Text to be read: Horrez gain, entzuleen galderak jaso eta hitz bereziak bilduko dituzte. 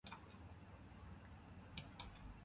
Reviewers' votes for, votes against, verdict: 0, 3, rejected